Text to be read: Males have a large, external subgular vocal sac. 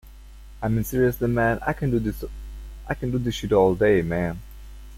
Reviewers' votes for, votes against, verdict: 0, 2, rejected